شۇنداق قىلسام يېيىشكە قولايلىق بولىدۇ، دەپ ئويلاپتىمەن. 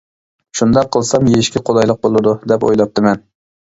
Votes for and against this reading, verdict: 2, 0, accepted